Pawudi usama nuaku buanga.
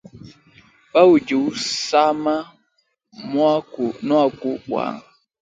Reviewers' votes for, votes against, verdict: 1, 3, rejected